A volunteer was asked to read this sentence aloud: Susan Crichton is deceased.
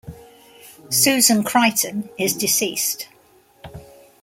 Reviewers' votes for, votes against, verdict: 3, 0, accepted